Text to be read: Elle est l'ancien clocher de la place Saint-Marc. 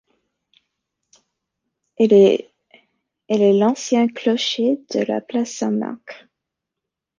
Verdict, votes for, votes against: rejected, 0, 2